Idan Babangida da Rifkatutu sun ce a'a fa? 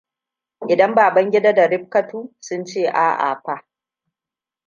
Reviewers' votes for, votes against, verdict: 1, 2, rejected